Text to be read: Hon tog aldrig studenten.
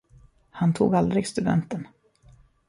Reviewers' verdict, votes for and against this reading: rejected, 0, 2